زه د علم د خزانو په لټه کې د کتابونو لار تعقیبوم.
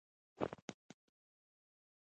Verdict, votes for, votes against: rejected, 0, 2